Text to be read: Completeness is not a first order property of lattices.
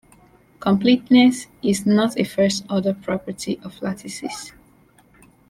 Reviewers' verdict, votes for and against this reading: accepted, 2, 0